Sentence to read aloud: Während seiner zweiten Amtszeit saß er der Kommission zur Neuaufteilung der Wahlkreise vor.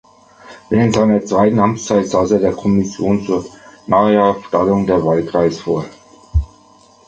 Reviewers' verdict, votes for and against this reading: rejected, 1, 2